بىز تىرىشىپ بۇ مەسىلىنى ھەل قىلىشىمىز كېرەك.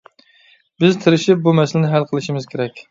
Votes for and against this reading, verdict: 2, 0, accepted